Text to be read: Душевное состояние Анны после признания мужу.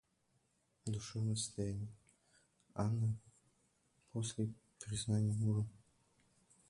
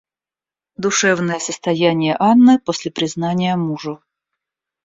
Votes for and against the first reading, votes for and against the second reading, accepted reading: 0, 2, 2, 0, second